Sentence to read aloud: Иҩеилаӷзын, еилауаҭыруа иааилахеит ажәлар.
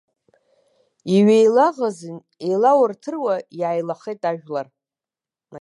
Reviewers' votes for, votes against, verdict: 2, 0, accepted